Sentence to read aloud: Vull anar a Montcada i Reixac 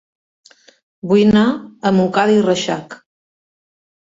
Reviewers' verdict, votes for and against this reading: rejected, 0, 2